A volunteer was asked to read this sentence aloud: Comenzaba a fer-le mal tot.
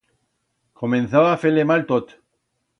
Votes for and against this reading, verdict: 2, 0, accepted